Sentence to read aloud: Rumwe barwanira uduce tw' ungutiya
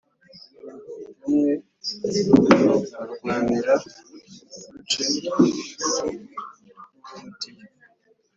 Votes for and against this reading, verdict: 2, 1, accepted